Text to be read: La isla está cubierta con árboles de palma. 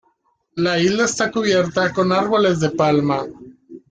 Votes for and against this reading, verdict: 2, 0, accepted